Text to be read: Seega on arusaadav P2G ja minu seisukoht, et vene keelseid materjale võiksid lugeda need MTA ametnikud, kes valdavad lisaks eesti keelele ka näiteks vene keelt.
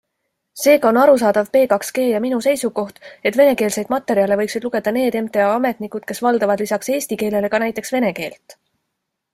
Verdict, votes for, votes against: rejected, 0, 2